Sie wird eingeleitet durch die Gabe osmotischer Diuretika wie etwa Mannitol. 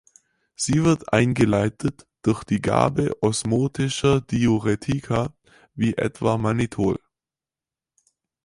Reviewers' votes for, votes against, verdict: 4, 0, accepted